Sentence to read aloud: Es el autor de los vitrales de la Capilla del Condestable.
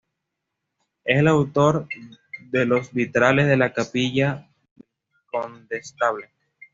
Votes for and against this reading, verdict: 1, 2, rejected